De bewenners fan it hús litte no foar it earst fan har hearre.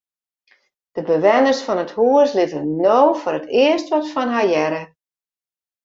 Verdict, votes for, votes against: rejected, 0, 2